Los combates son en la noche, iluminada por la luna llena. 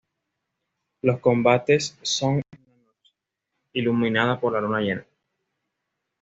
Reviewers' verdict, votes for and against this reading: rejected, 1, 2